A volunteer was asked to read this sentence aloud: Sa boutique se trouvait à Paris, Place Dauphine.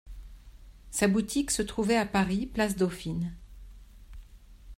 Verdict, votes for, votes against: accepted, 2, 0